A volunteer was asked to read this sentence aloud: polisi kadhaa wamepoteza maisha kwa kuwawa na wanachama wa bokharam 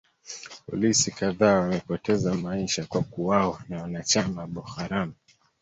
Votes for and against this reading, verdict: 3, 0, accepted